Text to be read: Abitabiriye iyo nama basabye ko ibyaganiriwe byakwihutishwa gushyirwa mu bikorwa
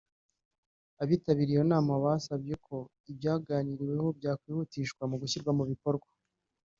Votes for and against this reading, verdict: 1, 2, rejected